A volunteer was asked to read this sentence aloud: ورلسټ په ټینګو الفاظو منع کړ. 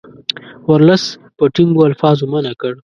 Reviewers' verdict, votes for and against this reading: accepted, 2, 0